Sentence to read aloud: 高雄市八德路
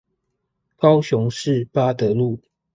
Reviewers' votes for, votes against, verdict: 2, 0, accepted